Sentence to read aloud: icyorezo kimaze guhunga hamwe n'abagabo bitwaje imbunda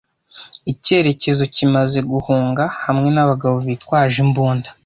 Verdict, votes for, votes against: rejected, 1, 2